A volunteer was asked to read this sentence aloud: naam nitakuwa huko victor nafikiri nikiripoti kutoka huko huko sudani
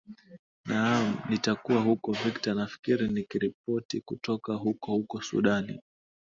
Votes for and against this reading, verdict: 6, 2, accepted